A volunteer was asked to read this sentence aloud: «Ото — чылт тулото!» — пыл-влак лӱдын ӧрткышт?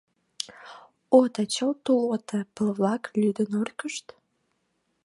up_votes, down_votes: 2, 1